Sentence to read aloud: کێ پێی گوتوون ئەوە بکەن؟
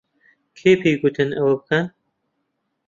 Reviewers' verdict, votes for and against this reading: rejected, 0, 2